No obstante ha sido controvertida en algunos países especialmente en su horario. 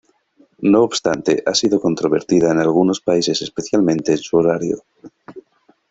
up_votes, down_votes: 2, 0